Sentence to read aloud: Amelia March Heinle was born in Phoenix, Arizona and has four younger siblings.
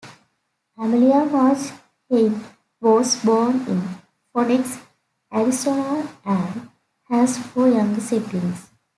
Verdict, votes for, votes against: rejected, 1, 2